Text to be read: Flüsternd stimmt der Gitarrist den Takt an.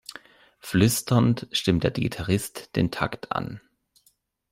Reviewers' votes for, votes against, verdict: 1, 2, rejected